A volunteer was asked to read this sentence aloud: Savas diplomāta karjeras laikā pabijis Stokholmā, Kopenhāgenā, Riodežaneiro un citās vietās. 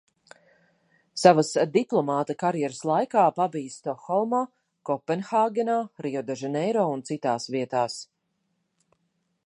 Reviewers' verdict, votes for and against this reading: accepted, 2, 0